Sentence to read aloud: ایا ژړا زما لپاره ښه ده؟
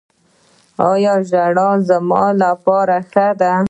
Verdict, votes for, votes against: rejected, 1, 2